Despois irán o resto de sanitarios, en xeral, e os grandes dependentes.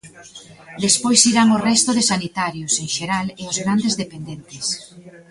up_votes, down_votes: 2, 1